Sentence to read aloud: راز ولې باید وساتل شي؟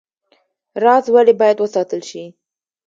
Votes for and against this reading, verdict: 2, 0, accepted